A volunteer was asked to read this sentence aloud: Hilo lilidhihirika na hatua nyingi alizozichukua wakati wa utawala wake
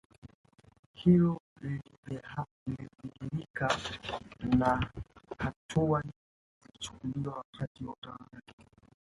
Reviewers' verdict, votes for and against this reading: rejected, 3, 4